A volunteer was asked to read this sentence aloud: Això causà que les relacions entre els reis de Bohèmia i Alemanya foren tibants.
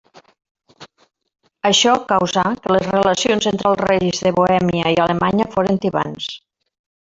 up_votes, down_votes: 0, 2